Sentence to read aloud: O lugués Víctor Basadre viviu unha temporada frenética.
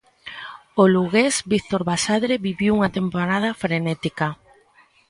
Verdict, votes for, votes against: accepted, 2, 0